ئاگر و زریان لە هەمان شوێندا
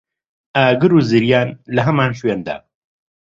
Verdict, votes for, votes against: accepted, 2, 0